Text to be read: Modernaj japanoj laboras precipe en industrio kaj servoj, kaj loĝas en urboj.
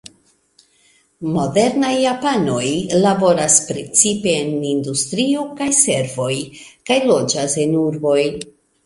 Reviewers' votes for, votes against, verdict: 2, 0, accepted